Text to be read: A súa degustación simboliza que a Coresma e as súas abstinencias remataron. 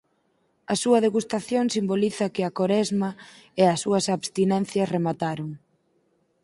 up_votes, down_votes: 4, 0